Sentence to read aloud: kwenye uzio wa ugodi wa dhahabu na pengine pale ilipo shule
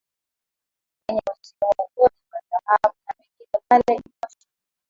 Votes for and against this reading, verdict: 4, 15, rejected